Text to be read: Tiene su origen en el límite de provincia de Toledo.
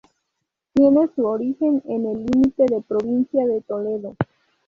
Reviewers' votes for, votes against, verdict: 4, 0, accepted